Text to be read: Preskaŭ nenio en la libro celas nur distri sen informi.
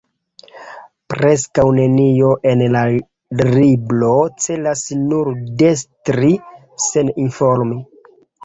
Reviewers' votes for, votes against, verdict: 0, 2, rejected